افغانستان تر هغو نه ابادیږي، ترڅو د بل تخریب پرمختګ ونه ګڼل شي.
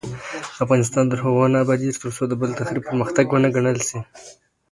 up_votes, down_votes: 2, 1